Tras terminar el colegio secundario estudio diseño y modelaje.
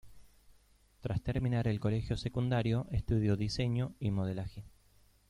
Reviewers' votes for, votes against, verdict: 2, 0, accepted